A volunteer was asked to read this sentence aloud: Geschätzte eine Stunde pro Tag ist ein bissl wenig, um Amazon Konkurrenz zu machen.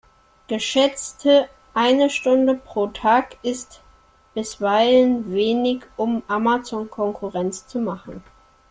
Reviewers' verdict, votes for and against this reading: rejected, 0, 2